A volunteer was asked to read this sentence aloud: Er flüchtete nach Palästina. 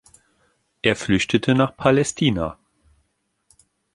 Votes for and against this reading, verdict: 2, 0, accepted